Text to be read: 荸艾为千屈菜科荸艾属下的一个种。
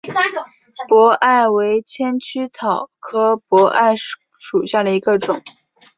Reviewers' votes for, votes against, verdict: 5, 1, accepted